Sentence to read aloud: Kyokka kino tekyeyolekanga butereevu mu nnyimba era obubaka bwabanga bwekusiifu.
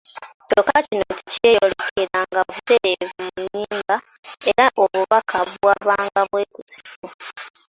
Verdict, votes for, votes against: accepted, 2, 0